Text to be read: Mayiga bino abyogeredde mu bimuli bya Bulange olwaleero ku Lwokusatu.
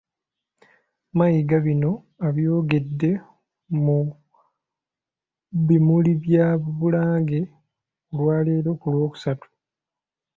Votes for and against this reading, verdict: 1, 2, rejected